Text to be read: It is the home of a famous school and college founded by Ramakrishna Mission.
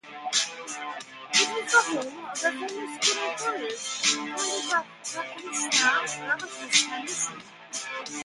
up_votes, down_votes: 0, 2